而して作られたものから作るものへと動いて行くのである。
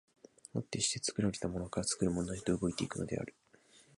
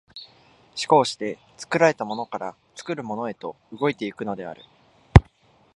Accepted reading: second